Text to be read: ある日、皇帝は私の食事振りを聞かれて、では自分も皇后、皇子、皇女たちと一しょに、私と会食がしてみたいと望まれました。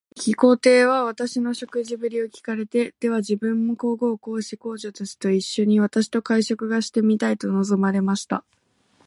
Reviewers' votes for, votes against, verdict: 1, 2, rejected